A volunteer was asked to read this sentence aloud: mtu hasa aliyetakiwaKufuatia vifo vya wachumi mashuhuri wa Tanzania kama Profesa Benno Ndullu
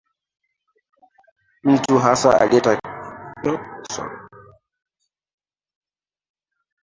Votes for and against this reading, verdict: 0, 2, rejected